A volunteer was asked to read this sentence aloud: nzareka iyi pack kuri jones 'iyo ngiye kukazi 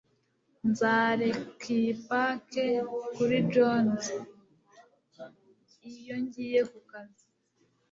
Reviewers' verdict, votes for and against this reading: rejected, 1, 2